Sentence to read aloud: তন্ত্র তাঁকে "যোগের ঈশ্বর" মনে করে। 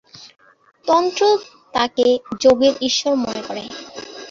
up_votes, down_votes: 6, 3